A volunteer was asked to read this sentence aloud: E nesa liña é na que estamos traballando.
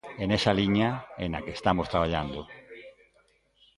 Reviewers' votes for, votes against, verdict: 1, 2, rejected